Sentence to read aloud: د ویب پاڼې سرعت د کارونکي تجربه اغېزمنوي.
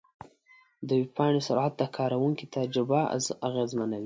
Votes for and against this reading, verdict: 2, 0, accepted